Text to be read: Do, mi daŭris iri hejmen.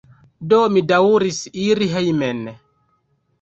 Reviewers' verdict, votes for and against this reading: accepted, 2, 1